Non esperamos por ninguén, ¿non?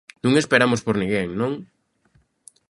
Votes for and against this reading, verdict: 2, 0, accepted